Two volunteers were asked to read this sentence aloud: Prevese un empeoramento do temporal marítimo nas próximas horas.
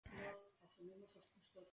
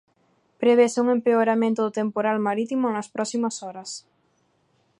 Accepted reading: second